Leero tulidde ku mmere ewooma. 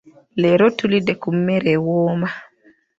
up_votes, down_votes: 1, 2